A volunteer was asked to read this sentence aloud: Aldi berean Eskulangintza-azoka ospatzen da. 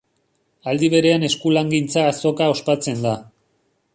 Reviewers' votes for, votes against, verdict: 1, 2, rejected